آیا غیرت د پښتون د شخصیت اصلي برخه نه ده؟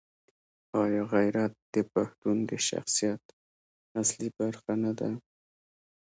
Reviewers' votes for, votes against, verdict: 1, 2, rejected